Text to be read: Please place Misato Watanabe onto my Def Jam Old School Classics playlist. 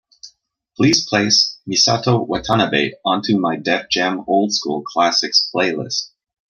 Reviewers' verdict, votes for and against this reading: accepted, 2, 0